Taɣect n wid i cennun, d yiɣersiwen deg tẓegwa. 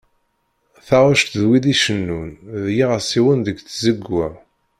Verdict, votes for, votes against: rejected, 1, 2